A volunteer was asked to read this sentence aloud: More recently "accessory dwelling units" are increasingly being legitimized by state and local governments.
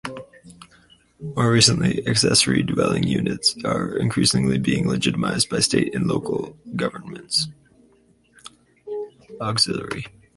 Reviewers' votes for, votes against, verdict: 2, 4, rejected